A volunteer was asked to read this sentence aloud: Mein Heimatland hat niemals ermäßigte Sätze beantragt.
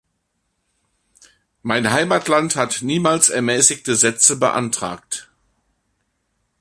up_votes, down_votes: 2, 0